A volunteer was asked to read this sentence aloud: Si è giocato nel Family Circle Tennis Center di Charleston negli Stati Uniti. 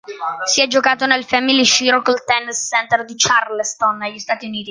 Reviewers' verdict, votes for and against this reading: rejected, 0, 2